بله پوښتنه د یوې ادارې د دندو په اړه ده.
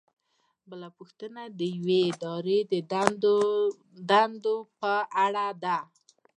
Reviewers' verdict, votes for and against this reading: rejected, 0, 2